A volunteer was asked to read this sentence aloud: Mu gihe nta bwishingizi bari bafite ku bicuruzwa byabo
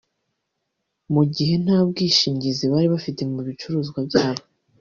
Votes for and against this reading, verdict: 2, 1, accepted